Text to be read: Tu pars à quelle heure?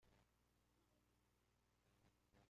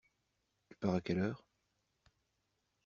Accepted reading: second